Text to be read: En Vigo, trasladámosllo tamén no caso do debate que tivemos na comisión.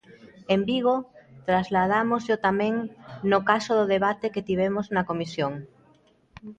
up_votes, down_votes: 2, 0